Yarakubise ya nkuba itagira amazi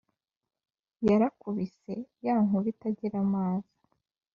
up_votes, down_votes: 3, 0